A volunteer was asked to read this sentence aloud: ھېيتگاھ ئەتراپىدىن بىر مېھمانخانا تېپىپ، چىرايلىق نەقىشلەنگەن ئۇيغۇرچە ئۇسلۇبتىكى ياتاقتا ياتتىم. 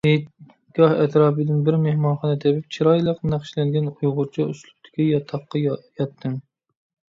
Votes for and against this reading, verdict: 0, 3, rejected